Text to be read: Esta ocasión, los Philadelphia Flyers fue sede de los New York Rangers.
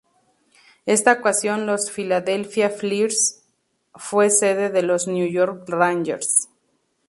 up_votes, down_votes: 2, 0